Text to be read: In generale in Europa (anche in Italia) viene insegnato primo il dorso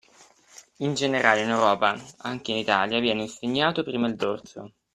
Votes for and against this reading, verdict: 3, 0, accepted